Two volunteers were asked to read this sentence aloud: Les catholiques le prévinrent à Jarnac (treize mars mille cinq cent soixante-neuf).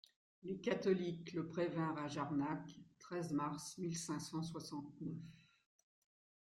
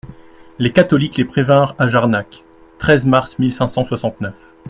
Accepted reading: first